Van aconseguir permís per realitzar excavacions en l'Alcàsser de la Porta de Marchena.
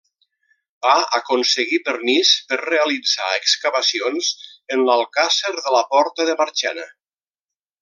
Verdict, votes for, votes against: rejected, 0, 2